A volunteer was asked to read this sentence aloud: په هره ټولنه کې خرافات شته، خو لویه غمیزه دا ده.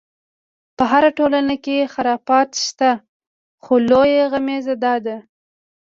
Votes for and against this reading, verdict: 2, 0, accepted